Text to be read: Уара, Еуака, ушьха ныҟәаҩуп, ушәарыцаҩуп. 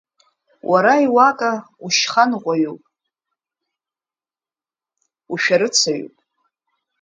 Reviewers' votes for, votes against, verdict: 1, 2, rejected